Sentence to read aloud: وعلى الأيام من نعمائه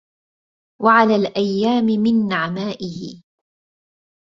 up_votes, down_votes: 2, 0